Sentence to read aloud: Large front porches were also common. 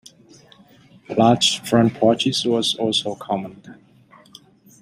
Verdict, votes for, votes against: rejected, 0, 2